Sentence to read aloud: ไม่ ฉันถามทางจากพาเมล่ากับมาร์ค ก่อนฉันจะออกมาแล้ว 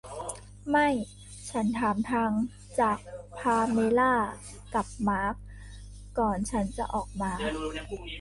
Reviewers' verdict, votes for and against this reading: rejected, 1, 2